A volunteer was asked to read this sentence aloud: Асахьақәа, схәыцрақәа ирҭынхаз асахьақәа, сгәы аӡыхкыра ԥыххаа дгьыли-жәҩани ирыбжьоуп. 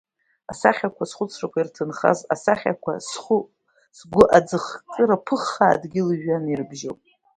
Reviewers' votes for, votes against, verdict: 1, 2, rejected